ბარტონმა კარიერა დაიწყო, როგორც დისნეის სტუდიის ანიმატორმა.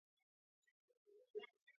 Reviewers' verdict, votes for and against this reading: rejected, 0, 2